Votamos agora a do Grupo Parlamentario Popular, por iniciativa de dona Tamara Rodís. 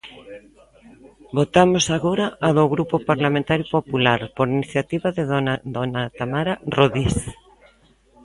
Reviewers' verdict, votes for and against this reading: rejected, 0, 2